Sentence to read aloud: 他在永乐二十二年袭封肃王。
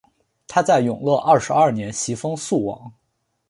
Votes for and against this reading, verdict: 2, 0, accepted